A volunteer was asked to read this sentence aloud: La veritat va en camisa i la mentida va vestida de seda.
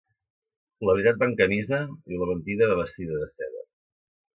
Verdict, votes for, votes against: accepted, 2, 0